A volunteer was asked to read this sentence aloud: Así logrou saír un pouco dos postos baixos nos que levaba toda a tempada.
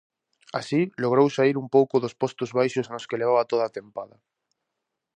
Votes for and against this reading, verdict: 2, 0, accepted